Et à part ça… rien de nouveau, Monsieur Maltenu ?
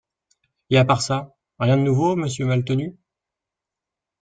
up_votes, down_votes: 2, 0